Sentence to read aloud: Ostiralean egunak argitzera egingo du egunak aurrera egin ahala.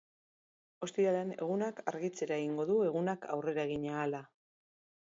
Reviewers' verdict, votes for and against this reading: accepted, 2, 0